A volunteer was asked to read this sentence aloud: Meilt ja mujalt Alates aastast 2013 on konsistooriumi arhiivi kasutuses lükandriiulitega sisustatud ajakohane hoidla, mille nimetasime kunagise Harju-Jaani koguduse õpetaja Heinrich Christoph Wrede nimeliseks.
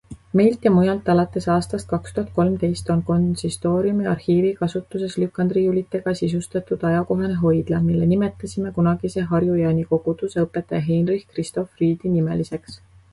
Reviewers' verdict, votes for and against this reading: rejected, 0, 2